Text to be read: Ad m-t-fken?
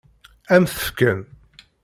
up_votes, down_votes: 2, 0